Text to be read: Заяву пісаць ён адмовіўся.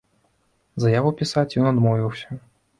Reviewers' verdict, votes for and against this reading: accepted, 2, 0